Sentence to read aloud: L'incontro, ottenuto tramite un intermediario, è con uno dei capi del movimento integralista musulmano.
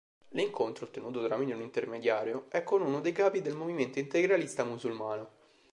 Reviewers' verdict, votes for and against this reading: rejected, 0, 2